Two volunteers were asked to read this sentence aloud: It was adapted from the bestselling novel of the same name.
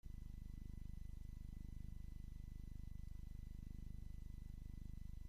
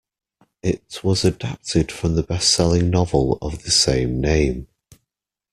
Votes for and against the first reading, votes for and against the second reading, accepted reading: 0, 2, 2, 0, second